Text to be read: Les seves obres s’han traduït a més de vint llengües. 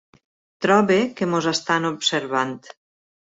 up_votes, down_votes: 0, 2